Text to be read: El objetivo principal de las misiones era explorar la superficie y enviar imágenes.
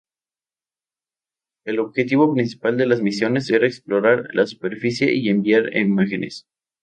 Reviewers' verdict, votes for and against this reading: accepted, 2, 0